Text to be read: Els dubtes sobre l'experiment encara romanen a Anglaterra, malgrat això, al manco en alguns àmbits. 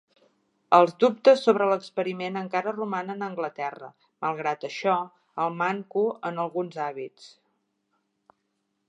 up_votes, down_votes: 2, 3